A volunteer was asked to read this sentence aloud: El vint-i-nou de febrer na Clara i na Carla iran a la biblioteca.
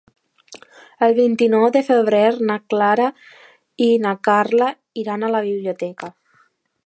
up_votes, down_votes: 2, 0